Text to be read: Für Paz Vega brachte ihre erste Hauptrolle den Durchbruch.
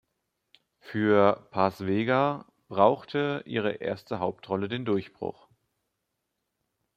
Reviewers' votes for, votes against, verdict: 0, 2, rejected